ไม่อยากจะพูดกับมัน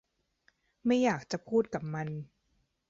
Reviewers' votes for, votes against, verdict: 3, 0, accepted